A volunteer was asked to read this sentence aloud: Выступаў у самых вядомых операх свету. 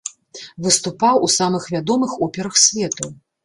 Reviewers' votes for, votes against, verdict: 2, 0, accepted